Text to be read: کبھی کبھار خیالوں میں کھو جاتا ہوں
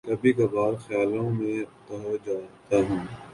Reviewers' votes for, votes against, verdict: 1, 2, rejected